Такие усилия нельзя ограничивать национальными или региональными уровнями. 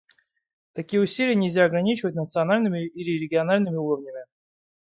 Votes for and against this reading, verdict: 2, 1, accepted